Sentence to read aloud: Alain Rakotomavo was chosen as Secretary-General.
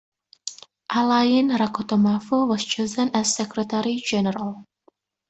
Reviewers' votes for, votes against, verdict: 2, 0, accepted